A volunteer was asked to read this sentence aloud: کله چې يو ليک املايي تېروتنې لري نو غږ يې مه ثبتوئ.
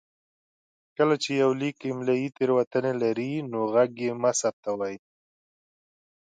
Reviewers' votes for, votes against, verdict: 2, 0, accepted